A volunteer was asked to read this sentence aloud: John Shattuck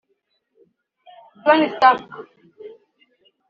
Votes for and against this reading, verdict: 1, 2, rejected